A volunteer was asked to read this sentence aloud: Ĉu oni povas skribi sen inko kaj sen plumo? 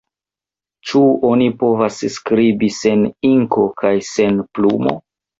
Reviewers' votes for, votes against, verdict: 0, 2, rejected